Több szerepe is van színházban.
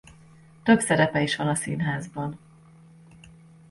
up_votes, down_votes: 1, 2